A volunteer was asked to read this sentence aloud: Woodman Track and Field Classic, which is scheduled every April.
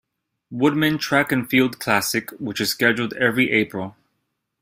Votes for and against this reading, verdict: 2, 0, accepted